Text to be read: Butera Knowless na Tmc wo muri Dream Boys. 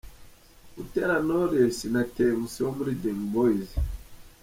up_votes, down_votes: 2, 0